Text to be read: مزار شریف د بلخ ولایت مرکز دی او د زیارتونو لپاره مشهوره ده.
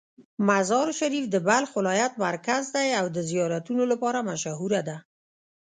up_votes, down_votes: 2, 0